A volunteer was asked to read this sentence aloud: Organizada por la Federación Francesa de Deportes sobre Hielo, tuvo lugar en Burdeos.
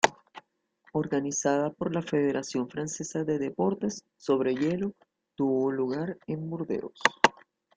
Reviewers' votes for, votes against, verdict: 2, 1, accepted